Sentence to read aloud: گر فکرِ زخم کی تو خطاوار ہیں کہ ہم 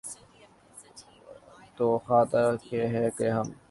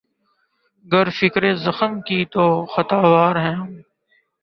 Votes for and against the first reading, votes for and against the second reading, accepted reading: 2, 2, 2, 0, second